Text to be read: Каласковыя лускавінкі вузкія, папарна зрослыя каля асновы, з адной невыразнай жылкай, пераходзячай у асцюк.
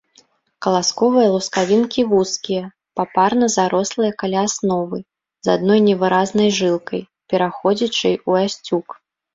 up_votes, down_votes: 0, 2